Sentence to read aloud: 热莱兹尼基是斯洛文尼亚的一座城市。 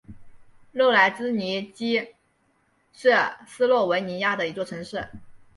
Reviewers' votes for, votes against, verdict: 2, 2, rejected